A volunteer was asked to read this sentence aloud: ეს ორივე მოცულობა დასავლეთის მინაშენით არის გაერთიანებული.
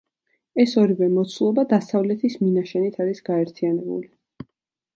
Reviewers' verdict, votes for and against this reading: accepted, 3, 0